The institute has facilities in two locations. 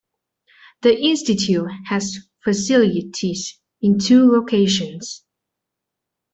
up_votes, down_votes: 2, 0